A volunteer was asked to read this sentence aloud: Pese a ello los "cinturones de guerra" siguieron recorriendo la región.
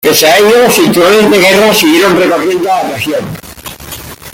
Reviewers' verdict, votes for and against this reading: rejected, 1, 2